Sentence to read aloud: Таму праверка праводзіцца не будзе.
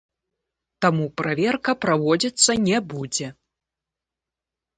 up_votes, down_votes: 1, 2